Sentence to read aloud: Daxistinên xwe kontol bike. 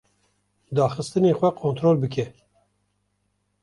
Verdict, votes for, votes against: rejected, 0, 2